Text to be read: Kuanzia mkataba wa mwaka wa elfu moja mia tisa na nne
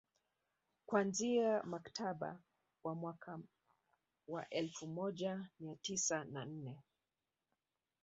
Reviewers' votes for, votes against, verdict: 1, 2, rejected